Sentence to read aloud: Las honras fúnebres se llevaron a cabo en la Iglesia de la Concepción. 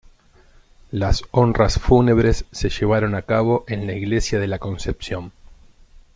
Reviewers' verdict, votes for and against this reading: accepted, 2, 0